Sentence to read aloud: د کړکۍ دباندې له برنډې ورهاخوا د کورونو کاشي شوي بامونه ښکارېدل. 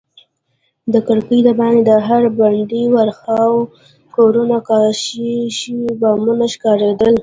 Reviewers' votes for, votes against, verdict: 1, 2, rejected